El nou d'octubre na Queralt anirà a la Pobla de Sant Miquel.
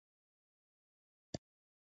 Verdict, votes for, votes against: rejected, 0, 2